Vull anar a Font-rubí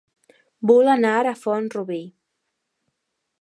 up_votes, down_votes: 0, 2